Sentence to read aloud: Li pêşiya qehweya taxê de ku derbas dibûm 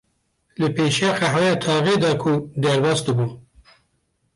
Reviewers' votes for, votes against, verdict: 0, 2, rejected